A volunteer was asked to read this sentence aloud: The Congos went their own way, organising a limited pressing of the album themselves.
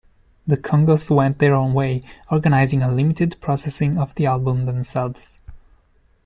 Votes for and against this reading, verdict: 1, 2, rejected